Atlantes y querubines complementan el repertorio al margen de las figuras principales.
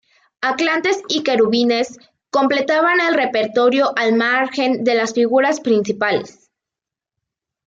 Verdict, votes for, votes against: rejected, 1, 2